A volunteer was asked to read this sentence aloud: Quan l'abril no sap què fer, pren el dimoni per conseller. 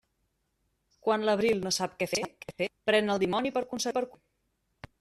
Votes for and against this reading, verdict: 0, 2, rejected